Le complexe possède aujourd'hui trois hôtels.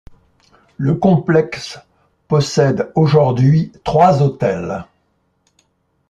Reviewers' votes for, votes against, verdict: 2, 0, accepted